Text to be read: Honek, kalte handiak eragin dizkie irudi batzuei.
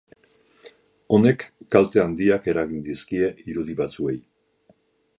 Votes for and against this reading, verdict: 6, 0, accepted